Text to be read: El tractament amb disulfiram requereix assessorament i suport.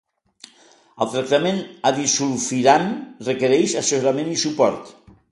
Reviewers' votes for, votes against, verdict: 0, 2, rejected